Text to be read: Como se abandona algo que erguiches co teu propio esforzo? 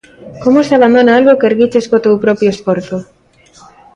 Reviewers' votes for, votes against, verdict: 2, 0, accepted